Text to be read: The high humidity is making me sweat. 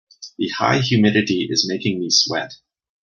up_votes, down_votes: 2, 0